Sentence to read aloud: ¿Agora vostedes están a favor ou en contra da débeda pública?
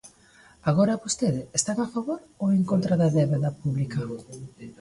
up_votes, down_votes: 0, 2